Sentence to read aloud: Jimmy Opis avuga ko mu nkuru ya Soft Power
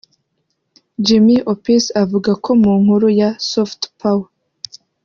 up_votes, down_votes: 1, 2